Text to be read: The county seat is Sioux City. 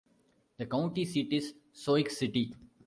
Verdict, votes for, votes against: rejected, 0, 2